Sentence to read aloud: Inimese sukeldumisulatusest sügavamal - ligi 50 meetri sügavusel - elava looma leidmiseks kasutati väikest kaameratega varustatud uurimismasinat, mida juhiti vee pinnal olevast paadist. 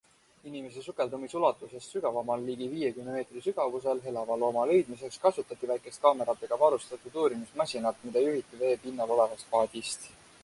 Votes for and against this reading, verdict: 0, 2, rejected